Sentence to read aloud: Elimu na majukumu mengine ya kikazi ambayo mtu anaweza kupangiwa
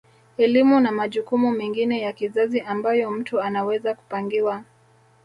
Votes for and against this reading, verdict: 1, 2, rejected